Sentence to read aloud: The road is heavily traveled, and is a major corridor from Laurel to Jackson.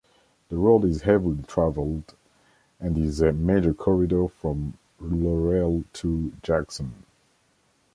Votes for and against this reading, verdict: 2, 0, accepted